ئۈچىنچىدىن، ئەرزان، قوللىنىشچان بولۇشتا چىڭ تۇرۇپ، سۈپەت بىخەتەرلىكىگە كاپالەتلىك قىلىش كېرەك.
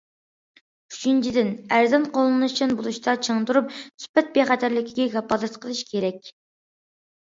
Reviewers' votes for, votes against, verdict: 2, 0, accepted